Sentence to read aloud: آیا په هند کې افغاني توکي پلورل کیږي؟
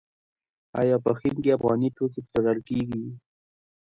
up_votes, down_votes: 2, 1